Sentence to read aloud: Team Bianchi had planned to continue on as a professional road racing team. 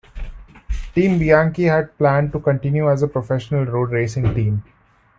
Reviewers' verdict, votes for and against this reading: rejected, 0, 2